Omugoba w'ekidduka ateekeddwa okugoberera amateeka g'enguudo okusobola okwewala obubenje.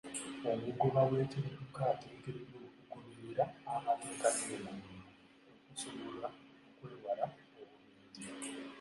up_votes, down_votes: 1, 2